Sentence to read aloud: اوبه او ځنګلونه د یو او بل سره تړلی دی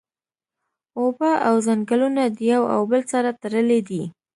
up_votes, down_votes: 2, 0